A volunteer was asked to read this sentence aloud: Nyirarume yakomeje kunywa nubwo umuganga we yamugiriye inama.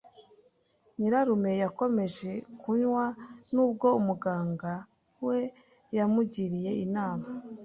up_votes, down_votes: 2, 0